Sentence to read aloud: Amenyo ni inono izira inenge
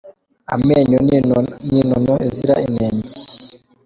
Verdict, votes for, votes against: accepted, 2, 0